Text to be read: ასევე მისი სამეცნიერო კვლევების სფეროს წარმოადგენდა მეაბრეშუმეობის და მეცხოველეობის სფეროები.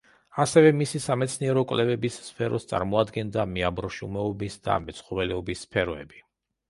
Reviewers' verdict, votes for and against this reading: rejected, 0, 2